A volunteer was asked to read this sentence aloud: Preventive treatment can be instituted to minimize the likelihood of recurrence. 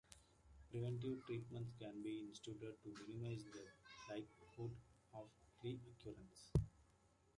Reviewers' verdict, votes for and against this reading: rejected, 0, 2